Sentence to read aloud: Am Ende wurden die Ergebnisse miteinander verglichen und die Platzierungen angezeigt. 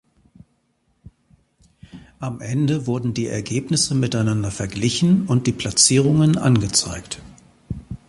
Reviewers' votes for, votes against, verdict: 2, 1, accepted